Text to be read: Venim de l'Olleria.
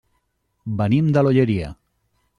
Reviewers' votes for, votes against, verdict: 3, 0, accepted